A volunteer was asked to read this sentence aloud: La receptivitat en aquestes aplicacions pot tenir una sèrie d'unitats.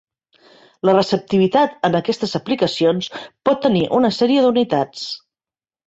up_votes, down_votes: 4, 0